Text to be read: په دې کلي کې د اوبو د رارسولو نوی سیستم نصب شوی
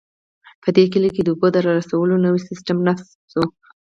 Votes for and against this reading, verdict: 6, 0, accepted